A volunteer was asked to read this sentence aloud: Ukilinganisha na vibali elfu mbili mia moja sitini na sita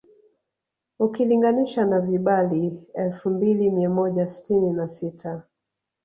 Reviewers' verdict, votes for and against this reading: rejected, 0, 2